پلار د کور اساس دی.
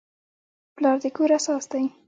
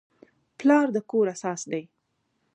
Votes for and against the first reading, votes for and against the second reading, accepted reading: 1, 2, 2, 0, second